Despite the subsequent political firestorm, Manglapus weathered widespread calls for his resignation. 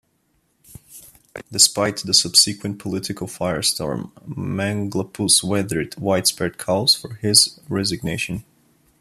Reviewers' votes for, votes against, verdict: 2, 0, accepted